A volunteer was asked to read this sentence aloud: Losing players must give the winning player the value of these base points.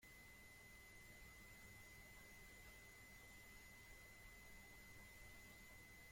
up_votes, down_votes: 0, 2